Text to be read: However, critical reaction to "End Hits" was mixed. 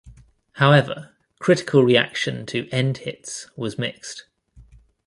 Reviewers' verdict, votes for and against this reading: accepted, 2, 0